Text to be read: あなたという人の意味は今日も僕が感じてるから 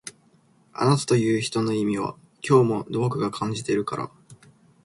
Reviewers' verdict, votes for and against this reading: accepted, 3, 1